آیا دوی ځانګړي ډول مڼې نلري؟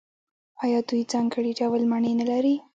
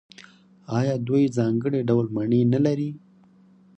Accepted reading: second